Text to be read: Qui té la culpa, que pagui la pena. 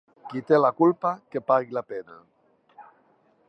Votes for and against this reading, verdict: 2, 0, accepted